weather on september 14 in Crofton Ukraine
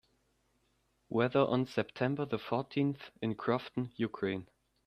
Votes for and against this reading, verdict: 0, 2, rejected